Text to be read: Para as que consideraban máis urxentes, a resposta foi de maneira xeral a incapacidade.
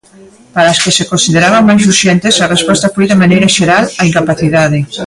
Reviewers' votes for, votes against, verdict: 0, 2, rejected